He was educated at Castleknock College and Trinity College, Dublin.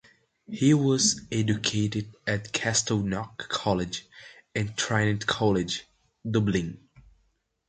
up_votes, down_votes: 0, 2